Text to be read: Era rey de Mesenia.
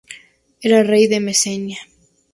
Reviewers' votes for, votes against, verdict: 2, 0, accepted